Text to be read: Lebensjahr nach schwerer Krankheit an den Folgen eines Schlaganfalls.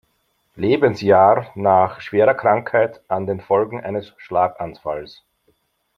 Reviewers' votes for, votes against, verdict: 2, 0, accepted